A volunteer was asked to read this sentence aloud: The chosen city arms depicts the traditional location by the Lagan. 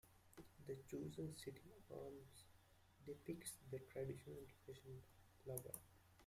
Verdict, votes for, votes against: rejected, 0, 2